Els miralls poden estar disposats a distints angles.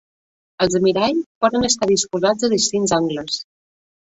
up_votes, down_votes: 2, 0